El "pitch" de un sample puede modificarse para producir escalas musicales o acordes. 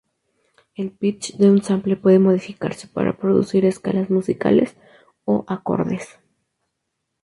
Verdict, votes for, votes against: rejected, 0, 2